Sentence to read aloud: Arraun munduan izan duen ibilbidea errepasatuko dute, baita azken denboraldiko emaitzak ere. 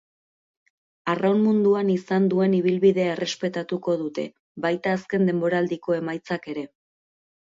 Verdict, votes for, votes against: rejected, 2, 2